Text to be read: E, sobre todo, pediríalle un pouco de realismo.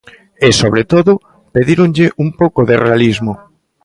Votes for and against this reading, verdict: 0, 2, rejected